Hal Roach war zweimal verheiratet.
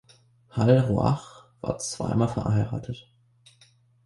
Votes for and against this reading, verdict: 1, 2, rejected